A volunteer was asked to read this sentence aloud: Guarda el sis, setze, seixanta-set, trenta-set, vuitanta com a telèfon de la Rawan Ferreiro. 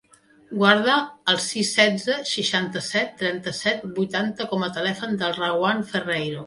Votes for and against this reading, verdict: 0, 2, rejected